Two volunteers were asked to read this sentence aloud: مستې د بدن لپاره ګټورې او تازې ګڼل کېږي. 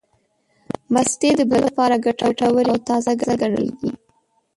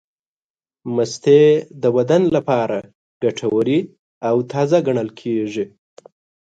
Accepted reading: second